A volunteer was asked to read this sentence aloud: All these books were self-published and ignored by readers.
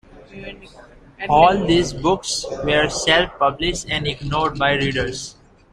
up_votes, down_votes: 2, 0